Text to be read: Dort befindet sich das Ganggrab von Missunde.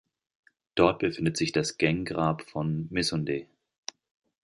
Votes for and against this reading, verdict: 1, 2, rejected